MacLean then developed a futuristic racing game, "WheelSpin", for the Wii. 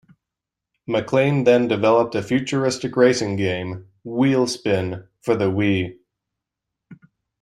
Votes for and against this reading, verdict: 2, 0, accepted